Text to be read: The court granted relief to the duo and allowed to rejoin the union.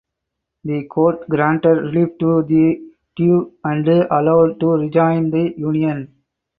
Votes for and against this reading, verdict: 2, 4, rejected